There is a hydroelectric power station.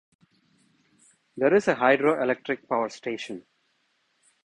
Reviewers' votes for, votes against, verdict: 2, 0, accepted